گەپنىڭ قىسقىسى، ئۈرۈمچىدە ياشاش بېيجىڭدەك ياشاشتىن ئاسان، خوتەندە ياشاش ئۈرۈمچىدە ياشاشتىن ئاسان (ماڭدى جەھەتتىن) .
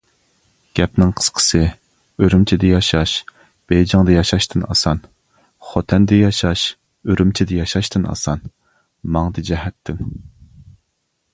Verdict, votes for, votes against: rejected, 0, 2